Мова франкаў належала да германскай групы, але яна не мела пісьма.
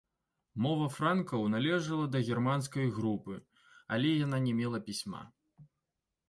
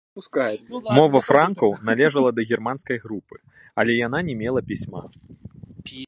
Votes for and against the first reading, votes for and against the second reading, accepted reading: 2, 0, 1, 2, first